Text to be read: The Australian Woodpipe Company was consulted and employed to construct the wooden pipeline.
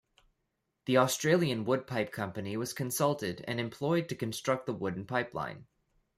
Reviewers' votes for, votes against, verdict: 0, 2, rejected